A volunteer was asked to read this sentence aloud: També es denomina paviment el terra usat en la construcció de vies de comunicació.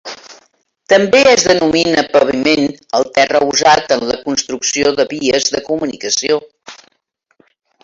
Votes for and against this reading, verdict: 3, 1, accepted